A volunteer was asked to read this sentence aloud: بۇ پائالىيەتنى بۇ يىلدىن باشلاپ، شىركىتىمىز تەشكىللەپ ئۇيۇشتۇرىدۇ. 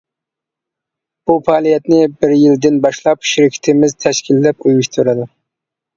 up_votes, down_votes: 0, 2